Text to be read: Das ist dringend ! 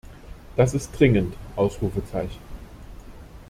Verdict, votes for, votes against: rejected, 0, 2